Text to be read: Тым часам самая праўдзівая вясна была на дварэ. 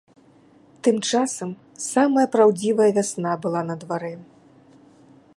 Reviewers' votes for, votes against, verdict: 2, 0, accepted